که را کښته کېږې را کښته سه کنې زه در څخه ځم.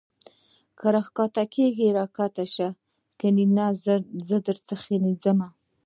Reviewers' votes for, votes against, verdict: 2, 0, accepted